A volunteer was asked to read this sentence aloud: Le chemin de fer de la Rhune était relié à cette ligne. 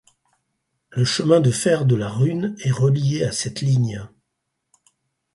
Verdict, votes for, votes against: rejected, 2, 4